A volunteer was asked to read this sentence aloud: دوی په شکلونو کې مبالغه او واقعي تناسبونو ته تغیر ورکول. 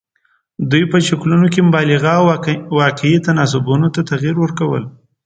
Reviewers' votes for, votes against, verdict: 2, 0, accepted